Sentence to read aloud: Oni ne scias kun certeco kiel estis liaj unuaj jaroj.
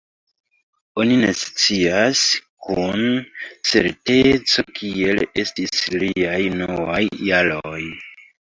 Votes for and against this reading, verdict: 2, 1, accepted